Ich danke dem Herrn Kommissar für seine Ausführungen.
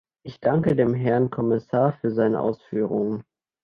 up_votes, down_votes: 2, 0